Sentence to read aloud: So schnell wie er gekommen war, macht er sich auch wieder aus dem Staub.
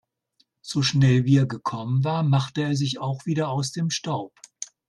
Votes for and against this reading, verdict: 1, 2, rejected